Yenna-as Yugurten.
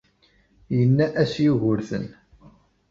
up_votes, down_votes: 1, 2